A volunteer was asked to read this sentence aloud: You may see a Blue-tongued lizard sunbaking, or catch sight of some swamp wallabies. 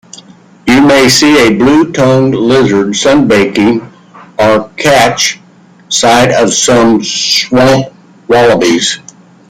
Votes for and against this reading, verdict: 2, 1, accepted